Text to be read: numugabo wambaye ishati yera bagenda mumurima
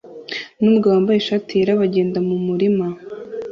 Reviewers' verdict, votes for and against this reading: accepted, 2, 0